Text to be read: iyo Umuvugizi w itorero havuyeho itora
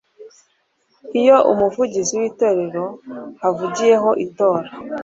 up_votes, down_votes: 1, 2